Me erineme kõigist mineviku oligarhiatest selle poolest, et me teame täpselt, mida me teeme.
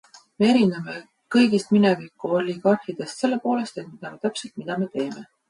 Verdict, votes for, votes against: rejected, 1, 2